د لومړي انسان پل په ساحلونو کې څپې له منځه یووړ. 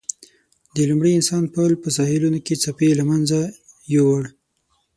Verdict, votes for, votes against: accepted, 6, 0